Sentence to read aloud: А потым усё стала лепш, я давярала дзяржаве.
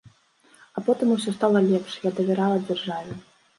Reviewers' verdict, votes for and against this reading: accepted, 2, 0